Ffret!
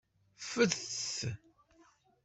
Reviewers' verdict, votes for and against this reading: rejected, 1, 2